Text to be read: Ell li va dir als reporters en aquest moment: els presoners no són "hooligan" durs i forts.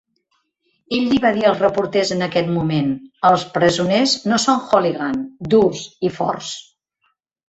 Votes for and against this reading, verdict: 1, 2, rejected